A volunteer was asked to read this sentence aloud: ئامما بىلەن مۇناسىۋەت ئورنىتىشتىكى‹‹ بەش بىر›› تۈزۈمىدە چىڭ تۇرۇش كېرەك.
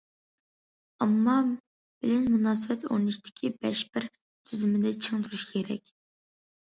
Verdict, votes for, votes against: rejected, 0, 2